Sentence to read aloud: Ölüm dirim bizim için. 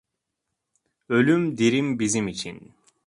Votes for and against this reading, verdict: 2, 0, accepted